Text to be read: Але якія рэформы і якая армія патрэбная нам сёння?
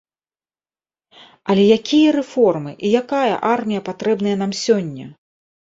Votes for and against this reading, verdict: 2, 0, accepted